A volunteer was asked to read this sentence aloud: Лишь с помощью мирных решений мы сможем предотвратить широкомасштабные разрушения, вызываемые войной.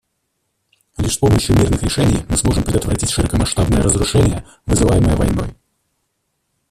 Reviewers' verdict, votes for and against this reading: rejected, 0, 2